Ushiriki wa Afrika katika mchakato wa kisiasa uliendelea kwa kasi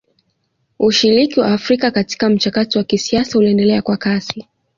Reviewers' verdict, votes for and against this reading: accepted, 2, 0